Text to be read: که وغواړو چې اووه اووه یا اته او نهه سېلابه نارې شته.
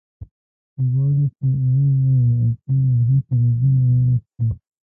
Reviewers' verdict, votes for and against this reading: rejected, 0, 2